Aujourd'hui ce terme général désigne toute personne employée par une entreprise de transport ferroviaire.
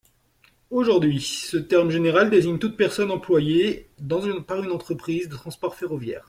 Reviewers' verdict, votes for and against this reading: rejected, 0, 2